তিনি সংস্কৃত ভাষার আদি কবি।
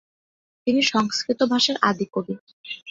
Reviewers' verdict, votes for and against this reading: accepted, 2, 0